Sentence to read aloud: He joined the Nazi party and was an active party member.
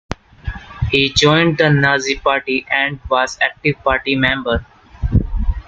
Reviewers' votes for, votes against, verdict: 0, 2, rejected